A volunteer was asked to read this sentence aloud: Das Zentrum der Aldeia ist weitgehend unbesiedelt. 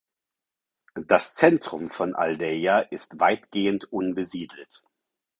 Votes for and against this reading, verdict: 0, 4, rejected